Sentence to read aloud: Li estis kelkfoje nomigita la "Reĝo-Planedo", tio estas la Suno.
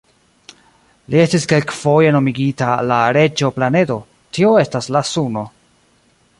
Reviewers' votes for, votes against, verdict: 1, 2, rejected